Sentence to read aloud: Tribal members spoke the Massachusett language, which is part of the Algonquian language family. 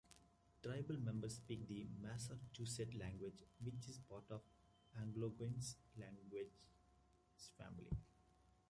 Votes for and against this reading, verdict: 0, 2, rejected